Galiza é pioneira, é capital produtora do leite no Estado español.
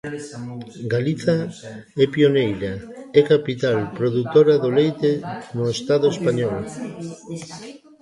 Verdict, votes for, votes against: rejected, 1, 2